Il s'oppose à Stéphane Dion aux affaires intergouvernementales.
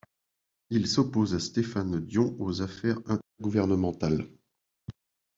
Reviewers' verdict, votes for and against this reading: rejected, 0, 2